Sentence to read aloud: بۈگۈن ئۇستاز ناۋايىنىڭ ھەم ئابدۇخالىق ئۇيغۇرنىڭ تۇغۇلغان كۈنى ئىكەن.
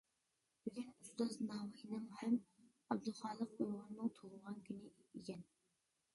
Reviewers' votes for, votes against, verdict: 0, 2, rejected